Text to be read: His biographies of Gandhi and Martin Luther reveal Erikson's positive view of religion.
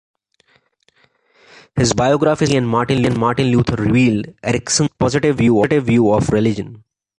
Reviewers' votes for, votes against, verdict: 0, 2, rejected